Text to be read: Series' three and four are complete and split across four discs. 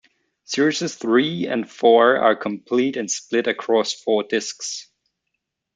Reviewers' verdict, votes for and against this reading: rejected, 0, 2